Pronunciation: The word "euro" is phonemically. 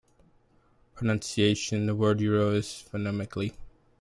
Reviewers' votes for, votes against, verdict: 2, 0, accepted